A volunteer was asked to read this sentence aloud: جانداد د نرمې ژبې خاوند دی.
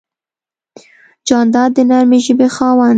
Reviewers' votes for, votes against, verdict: 0, 2, rejected